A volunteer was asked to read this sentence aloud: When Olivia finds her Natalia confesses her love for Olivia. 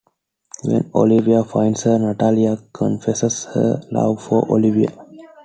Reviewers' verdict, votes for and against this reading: accepted, 2, 0